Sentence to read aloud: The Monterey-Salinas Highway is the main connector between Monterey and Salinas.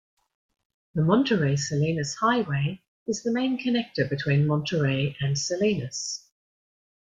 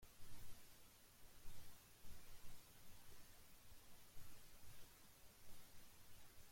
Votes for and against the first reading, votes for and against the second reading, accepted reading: 2, 0, 0, 2, first